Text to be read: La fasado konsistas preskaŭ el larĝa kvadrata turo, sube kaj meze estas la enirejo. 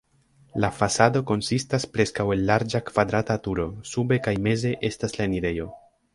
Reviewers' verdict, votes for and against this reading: rejected, 0, 2